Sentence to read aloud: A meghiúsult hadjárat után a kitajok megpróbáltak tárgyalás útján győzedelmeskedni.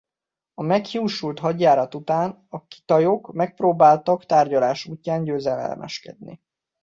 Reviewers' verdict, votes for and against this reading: accepted, 2, 0